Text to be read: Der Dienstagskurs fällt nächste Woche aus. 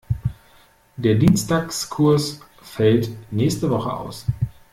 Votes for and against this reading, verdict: 2, 0, accepted